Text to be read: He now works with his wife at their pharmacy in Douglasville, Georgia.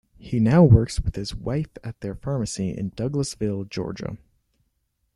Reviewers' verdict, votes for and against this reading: accepted, 2, 0